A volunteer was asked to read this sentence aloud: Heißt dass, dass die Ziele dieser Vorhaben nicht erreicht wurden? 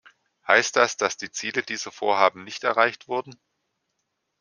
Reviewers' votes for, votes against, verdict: 2, 0, accepted